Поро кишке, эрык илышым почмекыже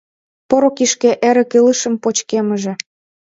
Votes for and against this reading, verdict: 1, 2, rejected